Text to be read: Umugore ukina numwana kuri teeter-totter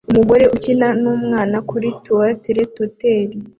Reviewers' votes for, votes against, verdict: 2, 0, accepted